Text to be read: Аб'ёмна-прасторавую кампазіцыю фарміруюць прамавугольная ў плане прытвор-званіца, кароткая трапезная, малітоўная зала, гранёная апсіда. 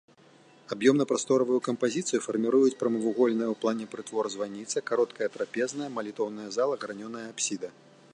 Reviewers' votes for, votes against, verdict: 2, 0, accepted